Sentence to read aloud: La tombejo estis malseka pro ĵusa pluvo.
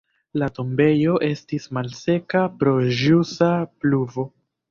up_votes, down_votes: 2, 0